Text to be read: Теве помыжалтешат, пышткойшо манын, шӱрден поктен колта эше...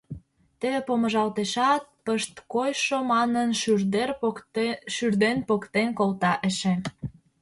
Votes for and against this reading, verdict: 0, 2, rejected